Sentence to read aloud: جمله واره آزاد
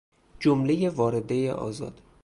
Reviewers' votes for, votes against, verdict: 0, 2, rejected